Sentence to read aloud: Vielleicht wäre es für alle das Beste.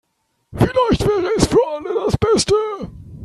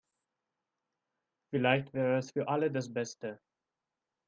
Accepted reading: second